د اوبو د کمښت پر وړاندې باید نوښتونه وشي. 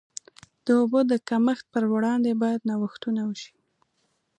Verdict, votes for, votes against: accepted, 2, 0